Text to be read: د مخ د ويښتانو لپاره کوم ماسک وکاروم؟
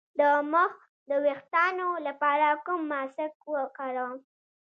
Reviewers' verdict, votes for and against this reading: rejected, 1, 2